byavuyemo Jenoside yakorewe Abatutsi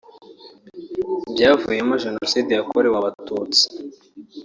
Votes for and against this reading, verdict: 2, 1, accepted